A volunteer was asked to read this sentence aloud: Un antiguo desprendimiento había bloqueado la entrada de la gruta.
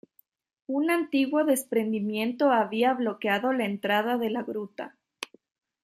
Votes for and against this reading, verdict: 2, 0, accepted